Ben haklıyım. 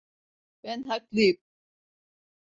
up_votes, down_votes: 2, 0